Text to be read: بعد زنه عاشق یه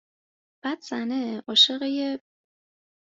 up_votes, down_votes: 2, 0